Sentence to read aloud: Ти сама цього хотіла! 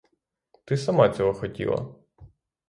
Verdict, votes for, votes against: rejected, 0, 3